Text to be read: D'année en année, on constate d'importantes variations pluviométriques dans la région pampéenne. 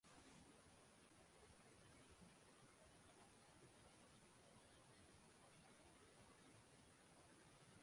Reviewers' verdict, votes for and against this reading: rejected, 0, 2